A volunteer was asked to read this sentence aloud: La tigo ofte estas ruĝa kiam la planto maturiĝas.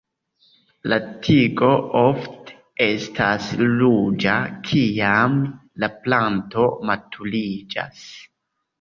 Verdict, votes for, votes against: rejected, 0, 2